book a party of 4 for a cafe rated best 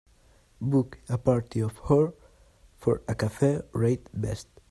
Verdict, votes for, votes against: rejected, 0, 2